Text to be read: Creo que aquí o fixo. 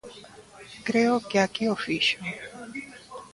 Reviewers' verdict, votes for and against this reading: accepted, 2, 0